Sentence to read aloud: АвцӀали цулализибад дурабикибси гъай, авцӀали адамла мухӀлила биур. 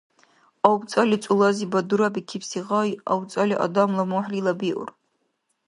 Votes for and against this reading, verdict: 1, 2, rejected